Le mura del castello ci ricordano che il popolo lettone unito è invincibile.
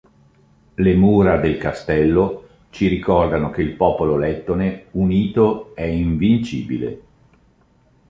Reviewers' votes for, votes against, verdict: 2, 0, accepted